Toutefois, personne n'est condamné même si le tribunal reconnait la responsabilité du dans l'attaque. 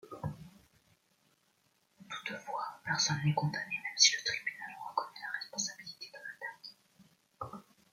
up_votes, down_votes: 0, 2